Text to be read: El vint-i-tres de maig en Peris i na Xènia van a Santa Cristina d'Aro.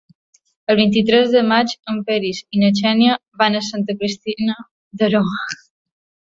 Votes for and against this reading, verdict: 0, 2, rejected